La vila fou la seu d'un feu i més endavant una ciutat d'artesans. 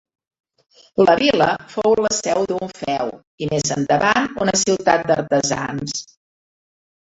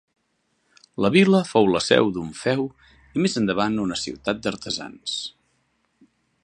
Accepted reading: second